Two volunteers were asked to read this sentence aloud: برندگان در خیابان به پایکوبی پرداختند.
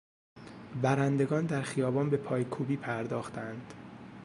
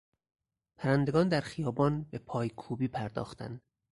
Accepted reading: first